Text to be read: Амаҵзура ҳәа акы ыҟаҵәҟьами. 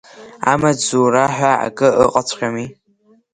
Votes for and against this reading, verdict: 9, 2, accepted